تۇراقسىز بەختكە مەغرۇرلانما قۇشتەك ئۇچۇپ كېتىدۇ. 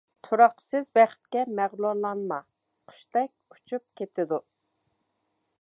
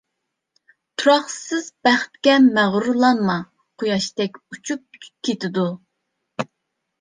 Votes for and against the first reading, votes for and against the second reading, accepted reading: 2, 0, 0, 2, first